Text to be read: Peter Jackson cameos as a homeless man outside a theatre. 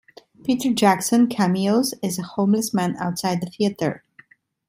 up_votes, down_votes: 2, 0